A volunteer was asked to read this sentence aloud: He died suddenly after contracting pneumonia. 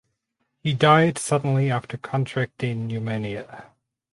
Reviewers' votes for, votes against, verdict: 4, 2, accepted